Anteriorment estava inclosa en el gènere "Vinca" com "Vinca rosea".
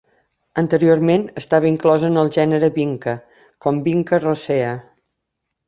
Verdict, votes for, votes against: accepted, 2, 0